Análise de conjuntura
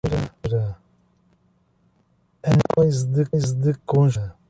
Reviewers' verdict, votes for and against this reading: rejected, 0, 2